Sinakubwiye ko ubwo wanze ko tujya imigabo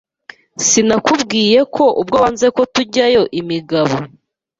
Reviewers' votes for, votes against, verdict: 1, 2, rejected